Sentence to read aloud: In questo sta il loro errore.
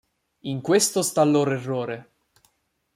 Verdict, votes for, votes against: rejected, 1, 2